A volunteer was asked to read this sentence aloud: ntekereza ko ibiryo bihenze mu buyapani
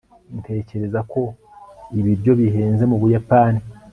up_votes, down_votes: 2, 0